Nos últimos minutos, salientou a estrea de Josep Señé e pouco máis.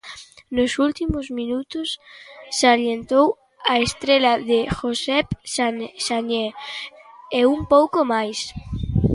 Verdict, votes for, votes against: rejected, 0, 2